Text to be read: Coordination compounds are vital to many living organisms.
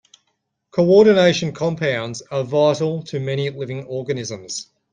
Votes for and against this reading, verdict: 2, 0, accepted